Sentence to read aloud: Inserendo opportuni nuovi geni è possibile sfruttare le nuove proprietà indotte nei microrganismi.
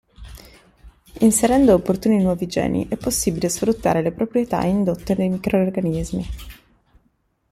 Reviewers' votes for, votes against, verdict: 0, 2, rejected